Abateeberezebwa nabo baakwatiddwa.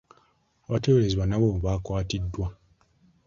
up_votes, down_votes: 2, 0